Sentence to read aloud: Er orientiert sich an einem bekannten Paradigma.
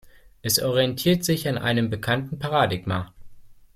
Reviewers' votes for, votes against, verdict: 1, 2, rejected